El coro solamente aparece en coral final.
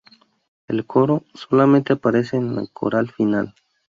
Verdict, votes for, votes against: rejected, 0, 2